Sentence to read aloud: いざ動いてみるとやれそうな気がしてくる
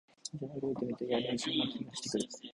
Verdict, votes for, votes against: rejected, 0, 2